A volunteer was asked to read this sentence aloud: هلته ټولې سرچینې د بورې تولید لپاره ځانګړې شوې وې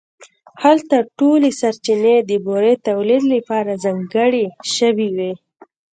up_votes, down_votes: 2, 0